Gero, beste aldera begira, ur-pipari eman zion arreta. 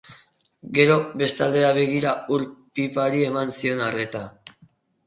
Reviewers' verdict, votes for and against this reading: accepted, 6, 0